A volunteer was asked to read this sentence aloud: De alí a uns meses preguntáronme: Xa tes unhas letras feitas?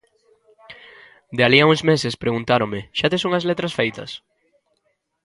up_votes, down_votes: 2, 0